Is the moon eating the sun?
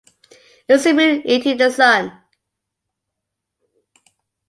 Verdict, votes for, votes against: accepted, 2, 0